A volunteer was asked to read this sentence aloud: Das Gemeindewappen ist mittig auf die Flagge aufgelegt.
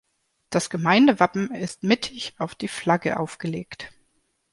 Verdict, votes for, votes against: accepted, 2, 0